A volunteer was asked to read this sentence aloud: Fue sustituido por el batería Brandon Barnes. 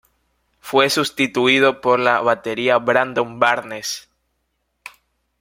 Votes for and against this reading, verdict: 0, 2, rejected